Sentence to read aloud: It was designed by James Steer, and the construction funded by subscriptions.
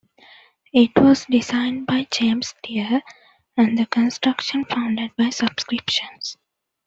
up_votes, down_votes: 2, 0